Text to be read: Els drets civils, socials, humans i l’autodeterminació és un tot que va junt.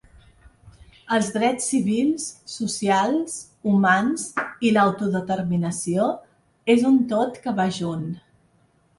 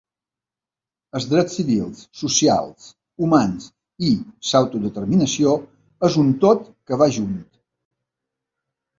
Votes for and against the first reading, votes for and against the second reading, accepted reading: 3, 0, 1, 2, first